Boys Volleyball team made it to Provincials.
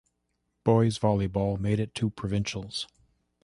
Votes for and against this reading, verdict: 1, 2, rejected